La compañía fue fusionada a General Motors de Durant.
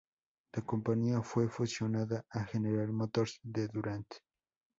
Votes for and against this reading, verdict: 2, 0, accepted